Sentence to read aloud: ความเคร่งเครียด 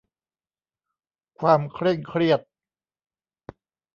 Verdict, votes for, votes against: accepted, 2, 0